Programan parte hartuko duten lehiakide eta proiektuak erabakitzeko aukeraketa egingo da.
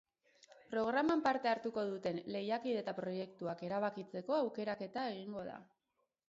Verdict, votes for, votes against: rejected, 2, 2